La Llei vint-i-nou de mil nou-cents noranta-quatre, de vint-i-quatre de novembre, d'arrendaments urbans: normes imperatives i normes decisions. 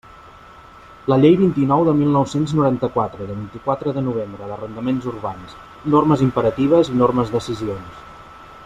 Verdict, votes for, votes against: rejected, 0, 2